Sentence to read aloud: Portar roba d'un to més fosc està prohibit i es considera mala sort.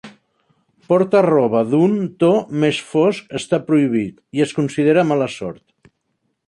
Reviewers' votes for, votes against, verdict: 1, 3, rejected